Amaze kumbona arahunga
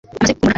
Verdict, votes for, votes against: rejected, 0, 2